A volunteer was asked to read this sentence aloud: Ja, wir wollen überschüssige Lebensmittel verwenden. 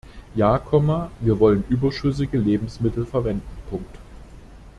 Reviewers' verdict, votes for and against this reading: rejected, 0, 2